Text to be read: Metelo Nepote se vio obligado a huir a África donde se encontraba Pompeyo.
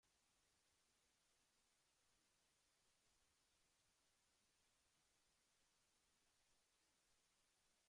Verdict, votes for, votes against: rejected, 0, 2